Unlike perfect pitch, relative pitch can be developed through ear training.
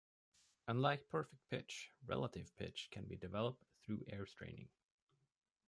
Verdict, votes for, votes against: accepted, 2, 1